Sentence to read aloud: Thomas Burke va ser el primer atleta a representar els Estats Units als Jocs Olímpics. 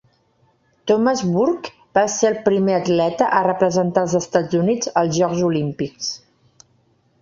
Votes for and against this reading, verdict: 0, 2, rejected